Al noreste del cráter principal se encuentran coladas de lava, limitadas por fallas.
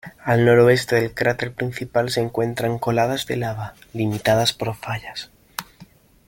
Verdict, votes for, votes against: accepted, 2, 1